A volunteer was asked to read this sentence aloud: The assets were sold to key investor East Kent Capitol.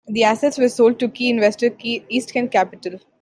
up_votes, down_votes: 2, 1